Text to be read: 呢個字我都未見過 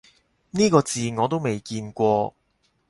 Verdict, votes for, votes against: accepted, 4, 0